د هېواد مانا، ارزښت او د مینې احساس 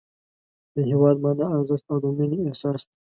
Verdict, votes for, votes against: accepted, 2, 0